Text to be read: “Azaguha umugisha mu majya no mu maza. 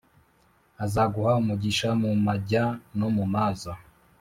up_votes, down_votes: 2, 0